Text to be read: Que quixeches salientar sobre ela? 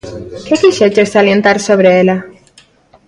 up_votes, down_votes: 2, 0